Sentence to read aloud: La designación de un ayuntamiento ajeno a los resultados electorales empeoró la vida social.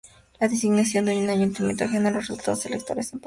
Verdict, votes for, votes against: accepted, 4, 2